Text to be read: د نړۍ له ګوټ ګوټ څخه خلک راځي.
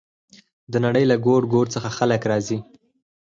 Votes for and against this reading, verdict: 4, 0, accepted